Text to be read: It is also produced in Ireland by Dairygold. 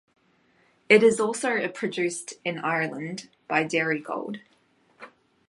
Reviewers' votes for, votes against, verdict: 1, 2, rejected